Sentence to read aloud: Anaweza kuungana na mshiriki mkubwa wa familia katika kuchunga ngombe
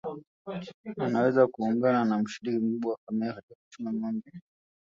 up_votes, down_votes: 0, 2